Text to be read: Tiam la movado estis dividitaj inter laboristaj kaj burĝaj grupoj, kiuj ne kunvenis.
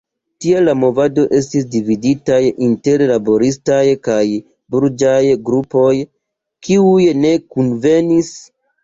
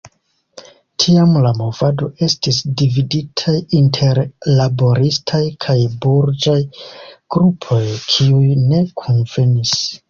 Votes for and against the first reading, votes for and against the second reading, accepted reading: 0, 2, 2, 1, second